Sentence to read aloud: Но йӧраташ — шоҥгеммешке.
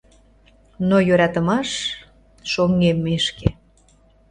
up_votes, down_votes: 1, 2